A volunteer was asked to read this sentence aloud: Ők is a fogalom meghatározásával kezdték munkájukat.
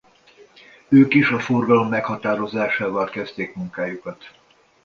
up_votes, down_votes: 2, 1